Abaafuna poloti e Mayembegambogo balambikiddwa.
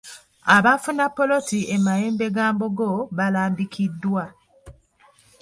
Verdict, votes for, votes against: accepted, 2, 0